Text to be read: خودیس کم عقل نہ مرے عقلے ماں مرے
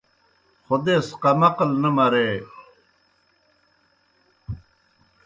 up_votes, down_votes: 0, 2